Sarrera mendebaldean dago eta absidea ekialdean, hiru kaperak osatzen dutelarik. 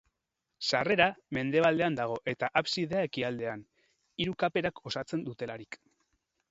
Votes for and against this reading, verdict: 2, 2, rejected